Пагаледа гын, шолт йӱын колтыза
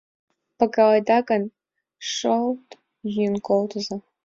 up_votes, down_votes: 4, 3